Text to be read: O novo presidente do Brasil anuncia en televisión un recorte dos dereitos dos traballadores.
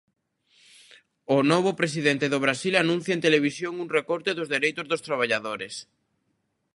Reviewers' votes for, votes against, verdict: 2, 0, accepted